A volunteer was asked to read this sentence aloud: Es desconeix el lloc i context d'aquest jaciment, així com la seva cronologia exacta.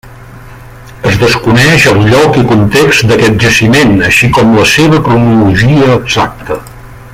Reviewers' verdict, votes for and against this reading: accepted, 2, 0